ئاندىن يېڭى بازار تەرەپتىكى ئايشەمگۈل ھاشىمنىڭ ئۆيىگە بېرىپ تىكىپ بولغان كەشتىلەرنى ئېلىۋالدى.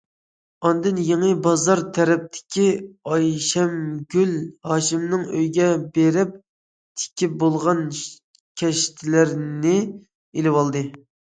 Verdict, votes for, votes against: accepted, 2, 0